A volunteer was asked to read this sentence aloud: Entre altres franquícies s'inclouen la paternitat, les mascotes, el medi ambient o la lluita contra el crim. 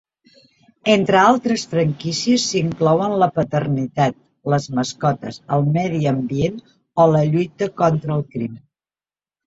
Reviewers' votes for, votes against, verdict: 3, 0, accepted